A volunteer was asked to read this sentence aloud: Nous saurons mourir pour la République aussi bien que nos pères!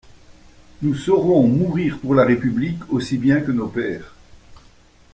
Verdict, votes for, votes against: accepted, 2, 0